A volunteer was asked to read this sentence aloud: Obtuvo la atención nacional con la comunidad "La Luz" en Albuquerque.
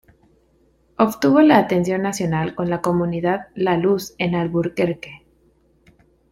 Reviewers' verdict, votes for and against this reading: rejected, 0, 2